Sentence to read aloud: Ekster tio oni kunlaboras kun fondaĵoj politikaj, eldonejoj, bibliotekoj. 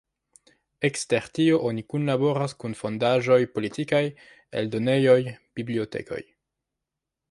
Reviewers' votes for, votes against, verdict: 1, 2, rejected